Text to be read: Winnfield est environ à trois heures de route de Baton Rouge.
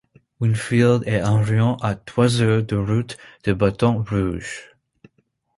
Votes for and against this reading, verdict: 2, 0, accepted